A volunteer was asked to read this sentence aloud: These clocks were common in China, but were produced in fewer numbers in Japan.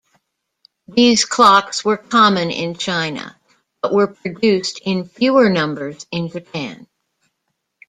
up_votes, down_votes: 2, 0